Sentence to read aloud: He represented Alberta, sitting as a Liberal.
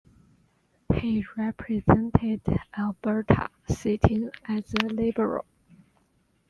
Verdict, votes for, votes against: accepted, 2, 1